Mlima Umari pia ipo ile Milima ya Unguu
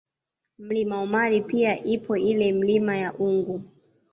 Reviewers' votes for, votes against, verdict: 1, 2, rejected